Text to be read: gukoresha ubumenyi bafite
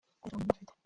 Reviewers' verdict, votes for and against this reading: rejected, 0, 2